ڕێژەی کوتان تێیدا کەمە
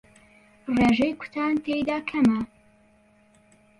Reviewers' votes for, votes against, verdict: 1, 2, rejected